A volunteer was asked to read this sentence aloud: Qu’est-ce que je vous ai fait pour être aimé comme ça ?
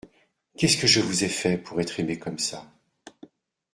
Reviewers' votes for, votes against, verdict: 2, 0, accepted